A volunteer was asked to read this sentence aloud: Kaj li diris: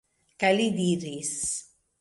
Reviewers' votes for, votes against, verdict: 2, 1, accepted